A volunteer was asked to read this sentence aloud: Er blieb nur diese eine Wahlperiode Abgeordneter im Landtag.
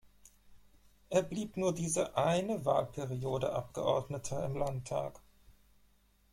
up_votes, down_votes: 2, 0